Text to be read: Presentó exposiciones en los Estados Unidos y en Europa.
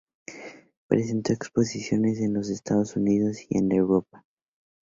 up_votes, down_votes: 2, 0